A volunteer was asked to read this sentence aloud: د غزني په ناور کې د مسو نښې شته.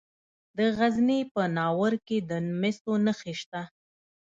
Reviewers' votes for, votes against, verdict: 2, 0, accepted